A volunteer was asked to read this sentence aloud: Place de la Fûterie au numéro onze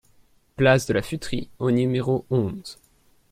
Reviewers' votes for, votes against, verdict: 2, 1, accepted